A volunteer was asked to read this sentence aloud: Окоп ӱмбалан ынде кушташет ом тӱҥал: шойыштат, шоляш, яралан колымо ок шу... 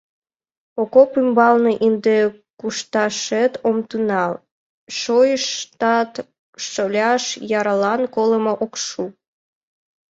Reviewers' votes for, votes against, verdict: 0, 2, rejected